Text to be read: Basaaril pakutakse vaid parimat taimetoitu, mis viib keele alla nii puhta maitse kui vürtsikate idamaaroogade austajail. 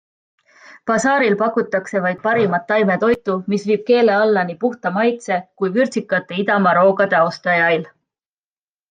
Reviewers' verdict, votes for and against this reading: accepted, 2, 0